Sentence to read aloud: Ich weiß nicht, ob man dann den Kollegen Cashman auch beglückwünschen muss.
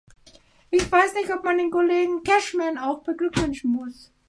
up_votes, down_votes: 0, 3